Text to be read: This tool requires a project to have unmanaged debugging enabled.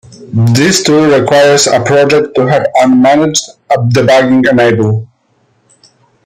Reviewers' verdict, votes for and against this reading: rejected, 0, 2